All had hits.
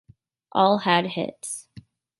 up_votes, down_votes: 2, 0